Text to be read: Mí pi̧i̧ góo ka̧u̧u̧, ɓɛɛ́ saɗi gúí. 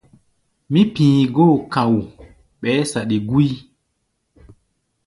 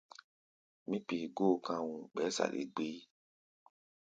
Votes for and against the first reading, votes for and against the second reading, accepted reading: 2, 0, 1, 2, first